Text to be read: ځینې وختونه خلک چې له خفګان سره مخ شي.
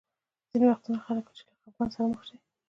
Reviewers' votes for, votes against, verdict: 2, 0, accepted